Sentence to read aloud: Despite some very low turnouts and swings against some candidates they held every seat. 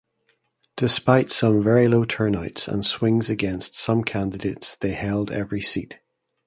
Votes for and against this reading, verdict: 2, 0, accepted